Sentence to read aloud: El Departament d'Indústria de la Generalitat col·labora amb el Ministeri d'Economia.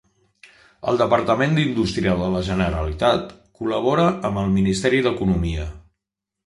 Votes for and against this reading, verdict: 2, 0, accepted